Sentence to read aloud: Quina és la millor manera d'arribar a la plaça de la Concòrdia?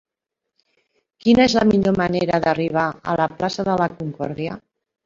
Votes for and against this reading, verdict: 3, 1, accepted